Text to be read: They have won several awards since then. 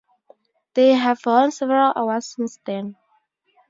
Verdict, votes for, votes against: accepted, 2, 0